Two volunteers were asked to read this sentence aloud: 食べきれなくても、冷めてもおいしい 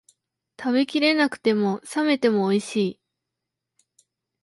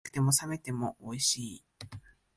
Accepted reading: first